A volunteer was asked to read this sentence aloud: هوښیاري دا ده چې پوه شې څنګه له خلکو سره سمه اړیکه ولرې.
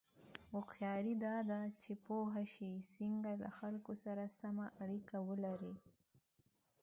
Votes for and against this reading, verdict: 2, 0, accepted